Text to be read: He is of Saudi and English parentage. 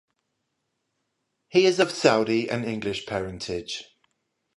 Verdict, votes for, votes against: accepted, 5, 0